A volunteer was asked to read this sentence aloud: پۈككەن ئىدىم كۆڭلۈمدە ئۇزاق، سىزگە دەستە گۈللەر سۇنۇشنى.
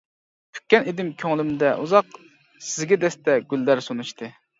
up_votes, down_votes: 0, 2